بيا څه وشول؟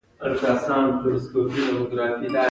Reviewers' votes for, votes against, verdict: 1, 2, rejected